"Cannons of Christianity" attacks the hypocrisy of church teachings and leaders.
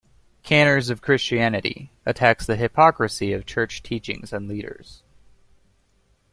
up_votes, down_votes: 1, 2